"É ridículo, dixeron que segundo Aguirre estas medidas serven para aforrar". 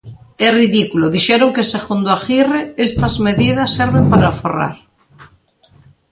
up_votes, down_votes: 2, 0